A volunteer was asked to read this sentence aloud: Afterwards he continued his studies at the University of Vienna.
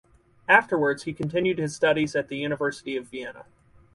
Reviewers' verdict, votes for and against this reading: accepted, 4, 0